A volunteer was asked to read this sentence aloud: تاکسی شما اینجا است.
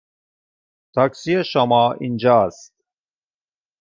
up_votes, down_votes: 1, 2